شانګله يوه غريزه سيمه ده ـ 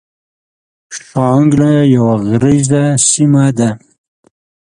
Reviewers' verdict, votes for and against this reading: accepted, 2, 0